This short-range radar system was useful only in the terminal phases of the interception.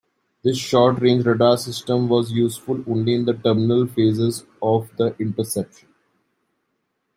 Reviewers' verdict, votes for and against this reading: accepted, 2, 0